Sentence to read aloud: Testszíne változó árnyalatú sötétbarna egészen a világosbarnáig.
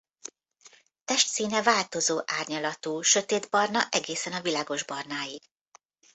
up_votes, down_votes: 2, 0